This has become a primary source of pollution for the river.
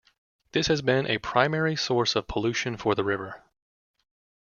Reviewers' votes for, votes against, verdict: 0, 2, rejected